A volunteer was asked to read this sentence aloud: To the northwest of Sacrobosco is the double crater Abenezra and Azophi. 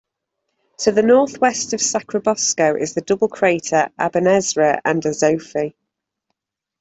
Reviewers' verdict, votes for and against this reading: accepted, 2, 0